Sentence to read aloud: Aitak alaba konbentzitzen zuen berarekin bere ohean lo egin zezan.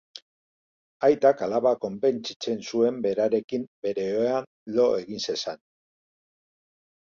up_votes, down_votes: 3, 0